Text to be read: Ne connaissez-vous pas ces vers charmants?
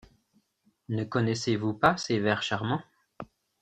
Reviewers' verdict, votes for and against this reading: accepted, 2, 0